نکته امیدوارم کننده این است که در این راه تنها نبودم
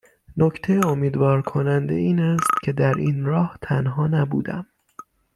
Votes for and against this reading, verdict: 3, 6, rejected